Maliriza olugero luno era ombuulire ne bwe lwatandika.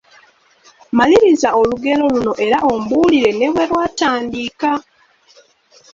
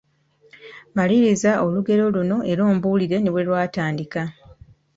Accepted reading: second